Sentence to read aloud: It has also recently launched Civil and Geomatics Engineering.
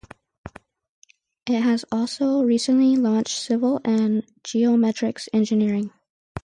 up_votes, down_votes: 2, 2